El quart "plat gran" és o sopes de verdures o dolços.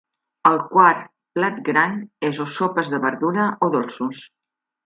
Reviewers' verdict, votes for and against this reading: rejected, 0, 2